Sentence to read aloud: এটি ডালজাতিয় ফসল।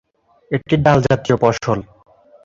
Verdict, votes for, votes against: rejected, 1, 3